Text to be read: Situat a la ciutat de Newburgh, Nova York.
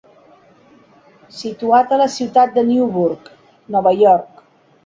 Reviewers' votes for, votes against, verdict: 2, 0, accepted